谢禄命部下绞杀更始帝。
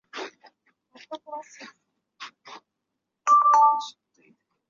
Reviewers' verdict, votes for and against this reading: rejected, 0, 3